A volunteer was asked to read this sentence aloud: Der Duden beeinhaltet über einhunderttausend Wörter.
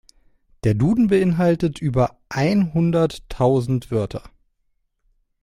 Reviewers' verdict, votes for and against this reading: accepted, 2, 0